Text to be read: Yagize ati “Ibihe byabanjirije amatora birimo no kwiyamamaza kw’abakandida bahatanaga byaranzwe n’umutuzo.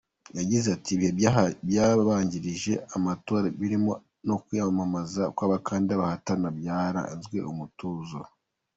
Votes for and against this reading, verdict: 3, 1, accepted